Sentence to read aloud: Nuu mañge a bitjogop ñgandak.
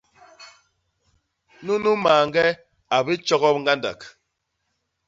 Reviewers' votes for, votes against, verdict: 0, 2, rejected